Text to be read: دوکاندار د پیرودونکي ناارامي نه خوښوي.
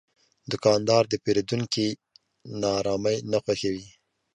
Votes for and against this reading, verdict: 2, 0, accepted